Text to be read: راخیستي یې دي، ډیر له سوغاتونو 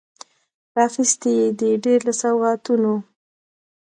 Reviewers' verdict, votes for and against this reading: accepted, 2, 1